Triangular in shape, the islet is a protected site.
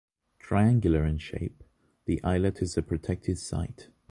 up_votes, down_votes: 2, 0